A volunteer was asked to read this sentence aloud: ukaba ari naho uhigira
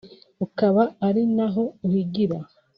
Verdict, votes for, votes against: rejected, 1, 2